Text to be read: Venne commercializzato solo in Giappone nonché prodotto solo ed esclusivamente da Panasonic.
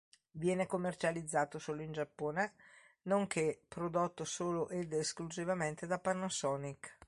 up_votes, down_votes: 0, 2